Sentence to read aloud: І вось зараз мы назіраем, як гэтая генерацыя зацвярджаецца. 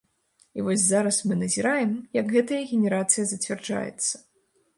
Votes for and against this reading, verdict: 2, 0, accepted